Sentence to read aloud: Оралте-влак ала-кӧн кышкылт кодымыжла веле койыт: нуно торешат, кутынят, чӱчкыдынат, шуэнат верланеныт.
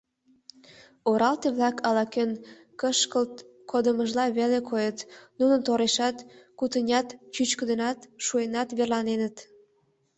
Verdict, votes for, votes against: accepted, 3, 0